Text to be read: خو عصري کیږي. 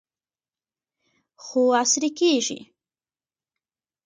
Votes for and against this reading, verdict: 2, 1, accepted